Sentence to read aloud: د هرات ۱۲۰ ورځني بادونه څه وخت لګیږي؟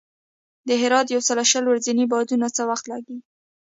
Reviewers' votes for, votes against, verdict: 0, 2, rejected